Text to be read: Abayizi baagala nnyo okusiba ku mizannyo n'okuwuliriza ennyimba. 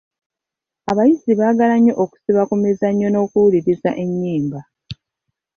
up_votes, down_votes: 2, 1